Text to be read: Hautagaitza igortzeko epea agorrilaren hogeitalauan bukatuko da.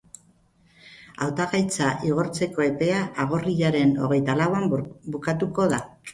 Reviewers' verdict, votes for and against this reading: rejected, 2, 4